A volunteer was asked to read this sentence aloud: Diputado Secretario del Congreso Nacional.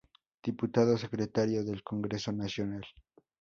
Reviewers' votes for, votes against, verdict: 0, 2, rejected